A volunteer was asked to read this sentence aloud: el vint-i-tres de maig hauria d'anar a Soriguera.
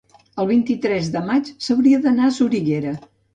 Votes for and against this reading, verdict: 0, 2, rejected